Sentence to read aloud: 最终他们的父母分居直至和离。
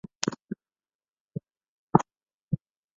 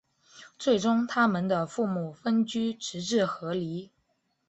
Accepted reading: second